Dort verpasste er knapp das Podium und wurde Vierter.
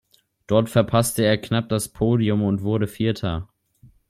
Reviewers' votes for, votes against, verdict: 2, 0, accepted